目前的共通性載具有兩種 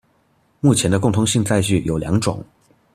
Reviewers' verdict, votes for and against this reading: accepted, 2, 1